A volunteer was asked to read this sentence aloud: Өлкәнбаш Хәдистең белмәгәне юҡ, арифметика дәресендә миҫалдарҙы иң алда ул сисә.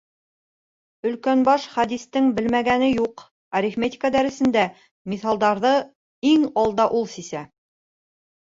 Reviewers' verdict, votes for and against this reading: accepted, 2, 0